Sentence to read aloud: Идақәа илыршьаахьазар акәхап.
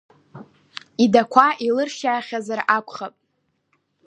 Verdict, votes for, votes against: accepted, 2, 1